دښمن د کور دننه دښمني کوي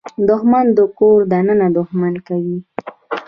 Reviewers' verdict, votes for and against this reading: rejected, 0, 2